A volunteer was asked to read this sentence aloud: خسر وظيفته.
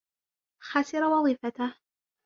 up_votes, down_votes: 2, 0